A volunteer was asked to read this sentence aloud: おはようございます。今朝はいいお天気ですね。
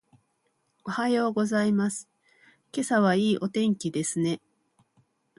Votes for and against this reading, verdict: 1, 2, rejected